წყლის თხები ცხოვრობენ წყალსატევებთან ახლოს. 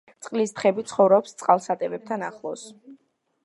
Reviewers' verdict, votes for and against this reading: rejected, 1, 2